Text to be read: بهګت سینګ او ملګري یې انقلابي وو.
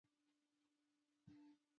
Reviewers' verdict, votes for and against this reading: rejected, 0, 2